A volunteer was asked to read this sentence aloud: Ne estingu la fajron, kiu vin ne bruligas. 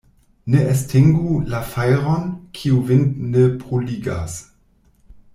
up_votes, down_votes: 1, 2